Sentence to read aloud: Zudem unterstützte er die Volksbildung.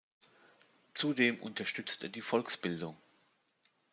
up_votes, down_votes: 1, 2